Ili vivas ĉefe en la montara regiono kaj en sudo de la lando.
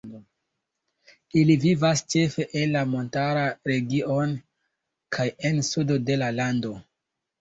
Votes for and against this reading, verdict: 0, 2, rejected